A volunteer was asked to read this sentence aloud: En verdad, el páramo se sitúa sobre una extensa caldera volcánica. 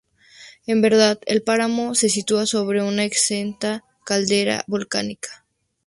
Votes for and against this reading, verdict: 0, 2, rejected